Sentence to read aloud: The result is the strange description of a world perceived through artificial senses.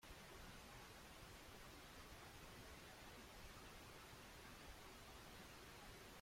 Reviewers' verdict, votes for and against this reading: rejected, 0, 2